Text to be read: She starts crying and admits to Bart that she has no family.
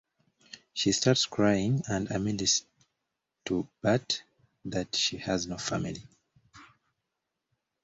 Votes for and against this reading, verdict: 1, 2, rejected